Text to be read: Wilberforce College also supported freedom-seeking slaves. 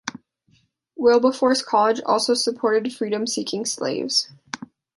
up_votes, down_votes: 2, 0